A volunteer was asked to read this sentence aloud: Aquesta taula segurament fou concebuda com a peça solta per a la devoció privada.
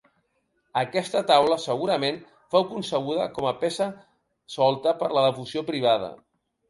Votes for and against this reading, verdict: 1, 2, rejected